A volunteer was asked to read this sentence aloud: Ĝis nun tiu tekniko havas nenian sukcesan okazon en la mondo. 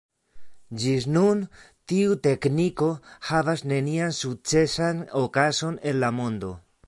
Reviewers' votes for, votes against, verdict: 2, 1, accepted